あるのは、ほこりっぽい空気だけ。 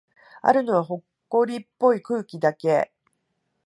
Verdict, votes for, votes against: rejected, 1, 2